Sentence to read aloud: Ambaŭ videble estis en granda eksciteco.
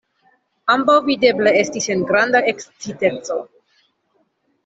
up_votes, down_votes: 2, 0